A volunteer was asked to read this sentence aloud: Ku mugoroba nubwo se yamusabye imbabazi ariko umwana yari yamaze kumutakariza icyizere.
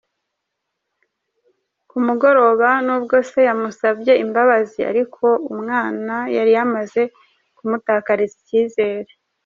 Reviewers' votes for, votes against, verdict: 2, 0, accepted